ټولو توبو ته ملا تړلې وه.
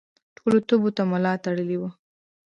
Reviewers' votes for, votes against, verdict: 1, 2, rejected